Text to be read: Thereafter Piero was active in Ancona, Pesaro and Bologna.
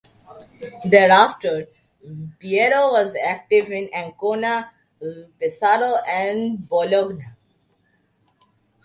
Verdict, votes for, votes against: accepted, 2, 1